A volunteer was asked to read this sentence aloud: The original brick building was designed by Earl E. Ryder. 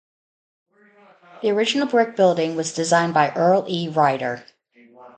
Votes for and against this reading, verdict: 0, 2, rejected